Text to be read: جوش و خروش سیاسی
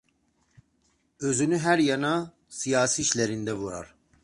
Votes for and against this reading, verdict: 0, 2, rejected